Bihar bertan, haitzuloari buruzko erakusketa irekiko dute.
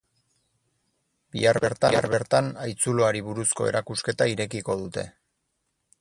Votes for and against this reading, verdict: 0, 2, rejected